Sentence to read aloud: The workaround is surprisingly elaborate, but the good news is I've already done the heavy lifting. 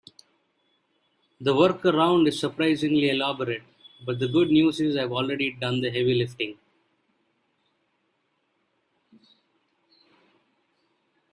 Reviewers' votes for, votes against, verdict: 2, 0, accepted